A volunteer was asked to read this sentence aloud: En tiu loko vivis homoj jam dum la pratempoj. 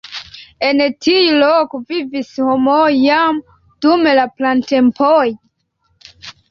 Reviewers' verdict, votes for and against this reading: accepted, 2, 0